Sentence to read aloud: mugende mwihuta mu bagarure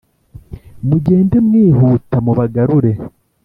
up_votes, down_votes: 2, 0